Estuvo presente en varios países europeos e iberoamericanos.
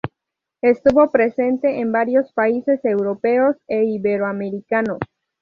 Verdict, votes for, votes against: accepted, 2, 0